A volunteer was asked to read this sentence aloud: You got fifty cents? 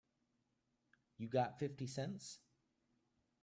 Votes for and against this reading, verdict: 2, 0, accepted